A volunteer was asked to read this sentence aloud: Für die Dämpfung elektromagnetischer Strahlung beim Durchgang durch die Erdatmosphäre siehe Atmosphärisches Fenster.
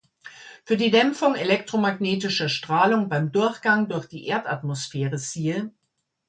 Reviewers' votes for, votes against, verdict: 0, 2, rejected